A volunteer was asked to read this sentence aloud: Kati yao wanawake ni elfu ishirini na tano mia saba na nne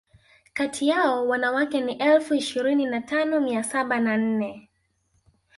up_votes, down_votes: 4, 0